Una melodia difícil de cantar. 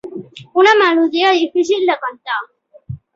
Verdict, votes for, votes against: rejected, 0, 2